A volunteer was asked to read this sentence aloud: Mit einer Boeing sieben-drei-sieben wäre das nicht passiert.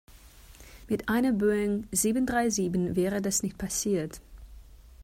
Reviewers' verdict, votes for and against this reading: accepted, 3, 0